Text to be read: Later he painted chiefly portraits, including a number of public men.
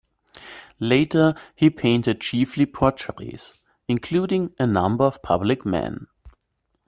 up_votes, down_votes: 1, 2